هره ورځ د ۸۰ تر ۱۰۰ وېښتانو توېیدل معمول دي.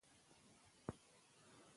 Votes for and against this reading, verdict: 0, 2, rejected